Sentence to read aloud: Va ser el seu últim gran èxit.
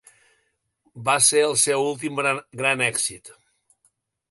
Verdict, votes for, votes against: rejected, 1, 2